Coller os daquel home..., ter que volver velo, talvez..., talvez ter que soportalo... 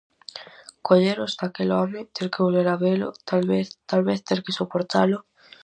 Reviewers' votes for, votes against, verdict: 0, 4, rejected